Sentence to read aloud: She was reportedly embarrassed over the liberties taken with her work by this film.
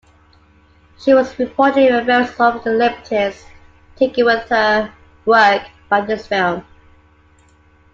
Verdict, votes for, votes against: rejected, 0, 2